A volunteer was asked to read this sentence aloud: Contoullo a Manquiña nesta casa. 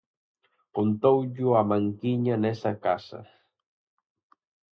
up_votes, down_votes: 0, 4